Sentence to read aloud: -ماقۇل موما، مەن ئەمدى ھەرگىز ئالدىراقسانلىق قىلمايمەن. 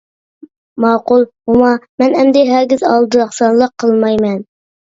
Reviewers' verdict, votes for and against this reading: accepted, 2, 0